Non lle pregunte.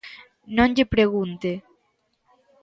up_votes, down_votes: 2, 0